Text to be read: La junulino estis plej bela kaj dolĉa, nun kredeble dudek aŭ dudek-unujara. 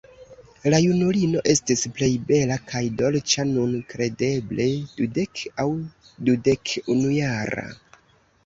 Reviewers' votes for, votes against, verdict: 1, 2, rejected